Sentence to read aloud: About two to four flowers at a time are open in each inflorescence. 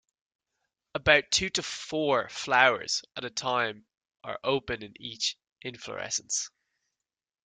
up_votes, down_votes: 2, 0